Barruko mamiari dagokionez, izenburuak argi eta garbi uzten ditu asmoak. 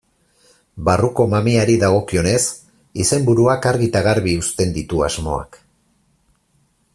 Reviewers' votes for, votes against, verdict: 4, 0, accepted